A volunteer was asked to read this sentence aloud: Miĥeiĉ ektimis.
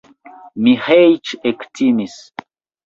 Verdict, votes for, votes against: accepted, 2, 1